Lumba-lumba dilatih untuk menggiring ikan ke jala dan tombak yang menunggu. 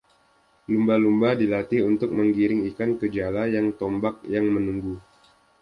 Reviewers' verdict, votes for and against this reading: rejected, 0, 2